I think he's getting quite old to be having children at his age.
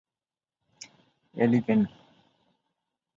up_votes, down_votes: 0, 14